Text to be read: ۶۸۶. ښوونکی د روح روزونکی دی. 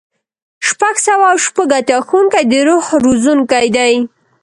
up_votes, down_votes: 0, 2